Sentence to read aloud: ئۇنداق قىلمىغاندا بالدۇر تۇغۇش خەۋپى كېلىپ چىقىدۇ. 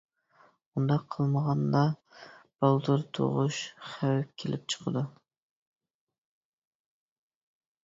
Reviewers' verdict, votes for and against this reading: rejected, 0, 2